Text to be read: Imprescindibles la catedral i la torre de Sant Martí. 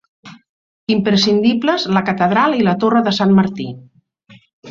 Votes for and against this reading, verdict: 2, 0, accepted